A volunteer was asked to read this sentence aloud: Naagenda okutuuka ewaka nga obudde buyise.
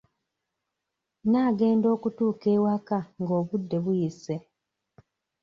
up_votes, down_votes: 0, 2